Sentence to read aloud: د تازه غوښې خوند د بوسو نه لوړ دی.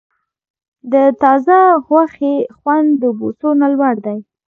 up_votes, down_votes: 2, 0